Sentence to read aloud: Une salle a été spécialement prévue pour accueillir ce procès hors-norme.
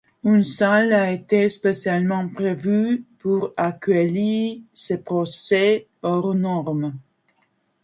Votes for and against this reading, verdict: 1, 2, rejected